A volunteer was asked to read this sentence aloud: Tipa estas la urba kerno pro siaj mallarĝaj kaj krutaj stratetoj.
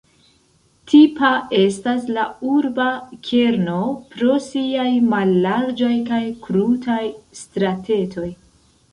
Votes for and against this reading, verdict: 2, 1, accepted